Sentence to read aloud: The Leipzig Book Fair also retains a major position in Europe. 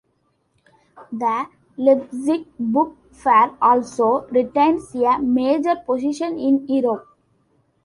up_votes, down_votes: 2, 0